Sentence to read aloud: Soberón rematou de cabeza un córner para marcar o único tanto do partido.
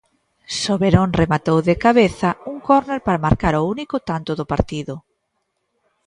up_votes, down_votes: 2, 0